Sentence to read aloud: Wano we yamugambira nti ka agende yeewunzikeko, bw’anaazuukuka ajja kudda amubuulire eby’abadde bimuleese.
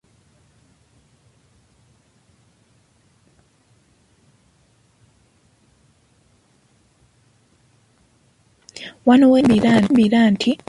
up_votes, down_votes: 0, 2